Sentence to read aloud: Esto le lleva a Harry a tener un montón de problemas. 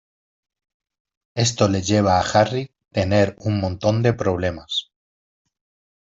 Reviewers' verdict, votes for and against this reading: rejected, 1, 2